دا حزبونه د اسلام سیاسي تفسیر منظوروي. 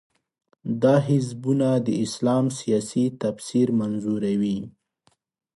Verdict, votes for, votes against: accepted, 2, 0